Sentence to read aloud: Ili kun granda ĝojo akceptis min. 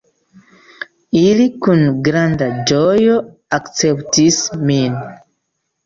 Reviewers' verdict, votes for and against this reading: accepted, 2, 1